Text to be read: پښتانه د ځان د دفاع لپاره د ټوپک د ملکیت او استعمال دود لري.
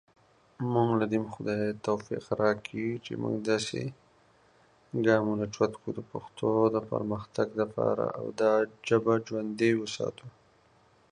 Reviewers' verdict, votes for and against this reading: rejected, 0, 2